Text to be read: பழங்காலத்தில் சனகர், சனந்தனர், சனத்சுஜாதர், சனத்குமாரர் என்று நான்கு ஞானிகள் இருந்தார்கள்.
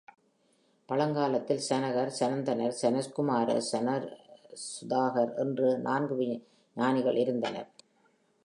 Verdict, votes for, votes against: rejected, 3, 4